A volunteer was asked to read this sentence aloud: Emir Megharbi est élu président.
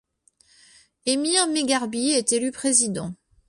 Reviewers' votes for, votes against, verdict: 2, 0, accepted